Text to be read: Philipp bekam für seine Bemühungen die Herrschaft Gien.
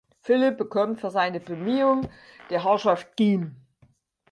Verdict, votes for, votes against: accepted, 4, 2